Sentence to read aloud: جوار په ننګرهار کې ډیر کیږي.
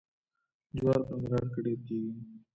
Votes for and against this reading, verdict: 1, 2, rejected